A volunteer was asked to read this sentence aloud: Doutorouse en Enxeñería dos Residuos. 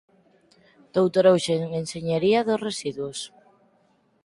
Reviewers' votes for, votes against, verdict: 4, 2, accepted